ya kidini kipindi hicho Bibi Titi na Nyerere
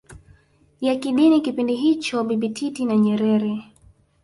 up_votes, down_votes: 3, 0